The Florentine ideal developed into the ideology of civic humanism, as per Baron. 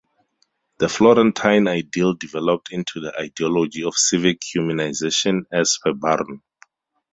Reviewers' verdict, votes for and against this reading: rejected, 0, 4